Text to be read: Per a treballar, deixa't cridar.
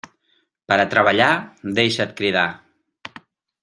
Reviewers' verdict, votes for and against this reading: accepted, 3, 0